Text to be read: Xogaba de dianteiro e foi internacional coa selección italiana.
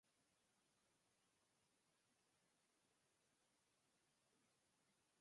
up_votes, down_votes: 0, 4